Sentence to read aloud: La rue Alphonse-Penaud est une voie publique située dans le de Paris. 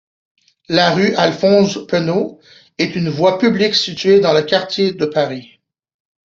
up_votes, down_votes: 0, 2